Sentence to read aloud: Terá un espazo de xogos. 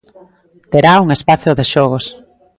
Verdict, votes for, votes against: rejected, 0, 2